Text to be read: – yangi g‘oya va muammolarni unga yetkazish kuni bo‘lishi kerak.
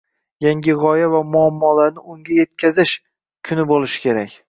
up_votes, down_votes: 2, 1